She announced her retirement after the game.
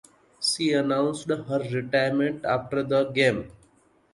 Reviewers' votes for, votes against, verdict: 2, 1, accepted